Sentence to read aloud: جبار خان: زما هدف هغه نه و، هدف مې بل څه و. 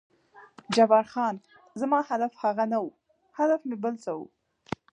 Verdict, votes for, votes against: accepted, 2, 0